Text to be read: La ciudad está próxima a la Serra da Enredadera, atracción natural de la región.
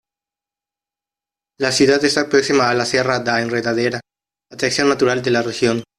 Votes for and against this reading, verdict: 1, 2, rejected